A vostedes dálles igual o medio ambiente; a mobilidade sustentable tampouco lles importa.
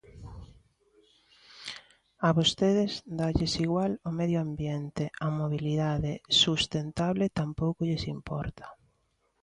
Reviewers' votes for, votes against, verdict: 2, 0, accepted